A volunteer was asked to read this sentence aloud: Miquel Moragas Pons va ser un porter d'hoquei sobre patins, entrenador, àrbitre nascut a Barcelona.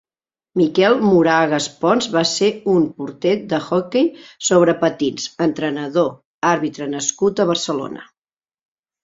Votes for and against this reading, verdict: 1, 2, rejected